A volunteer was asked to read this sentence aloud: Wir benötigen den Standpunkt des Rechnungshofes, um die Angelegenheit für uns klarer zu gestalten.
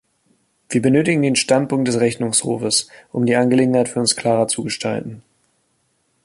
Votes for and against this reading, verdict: 2, 0, accepted